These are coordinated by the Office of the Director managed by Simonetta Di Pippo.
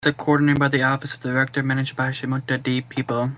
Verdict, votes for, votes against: rejected, 0, 3